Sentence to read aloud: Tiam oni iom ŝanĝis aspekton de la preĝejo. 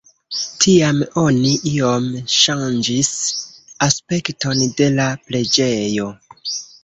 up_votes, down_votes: 2, 3